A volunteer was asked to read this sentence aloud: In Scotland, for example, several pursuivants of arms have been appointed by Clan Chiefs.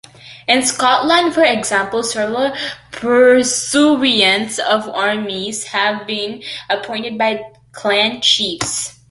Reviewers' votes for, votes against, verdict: 0, 2, rejected